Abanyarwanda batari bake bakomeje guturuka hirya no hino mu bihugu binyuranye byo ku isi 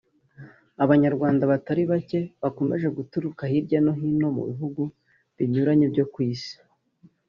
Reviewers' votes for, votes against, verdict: 3, 0, accepted